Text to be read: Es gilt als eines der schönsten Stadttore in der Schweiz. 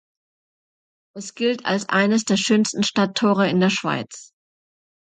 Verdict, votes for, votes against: accepted, 2, 0